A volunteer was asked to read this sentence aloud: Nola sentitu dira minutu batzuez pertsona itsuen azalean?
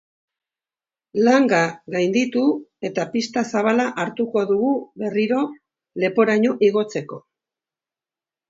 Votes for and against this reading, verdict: 0, 2, rejected